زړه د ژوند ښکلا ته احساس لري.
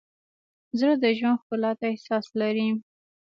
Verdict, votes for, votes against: accepted, 2, 0